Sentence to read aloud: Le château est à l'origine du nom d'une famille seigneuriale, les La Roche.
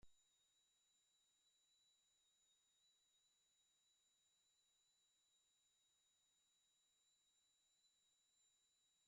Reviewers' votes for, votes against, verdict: 0, 2, rejected